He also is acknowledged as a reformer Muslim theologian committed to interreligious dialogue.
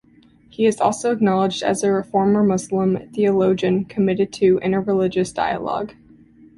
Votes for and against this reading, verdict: 2, 1, accepted